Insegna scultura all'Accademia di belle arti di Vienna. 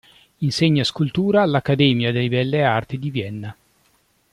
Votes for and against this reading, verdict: 0, 2, rejected